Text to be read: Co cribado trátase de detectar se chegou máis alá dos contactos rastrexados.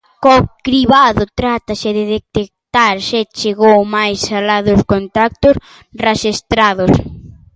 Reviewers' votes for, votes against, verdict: 0, 2, rejected